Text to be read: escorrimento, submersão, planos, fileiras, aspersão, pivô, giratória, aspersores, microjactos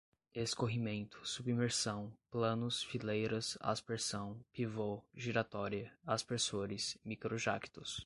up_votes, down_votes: 2, 0